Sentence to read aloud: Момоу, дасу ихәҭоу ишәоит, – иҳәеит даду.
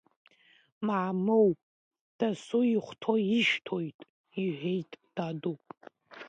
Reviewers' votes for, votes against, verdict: 0, 2, rejected